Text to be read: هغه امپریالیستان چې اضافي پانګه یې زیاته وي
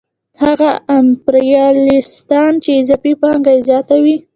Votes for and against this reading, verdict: 2, 0, accepted